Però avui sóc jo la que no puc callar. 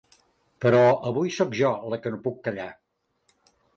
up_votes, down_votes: 2, 0